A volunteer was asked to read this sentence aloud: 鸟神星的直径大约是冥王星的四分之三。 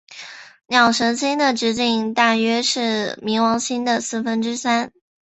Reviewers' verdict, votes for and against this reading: accepted, 3, 1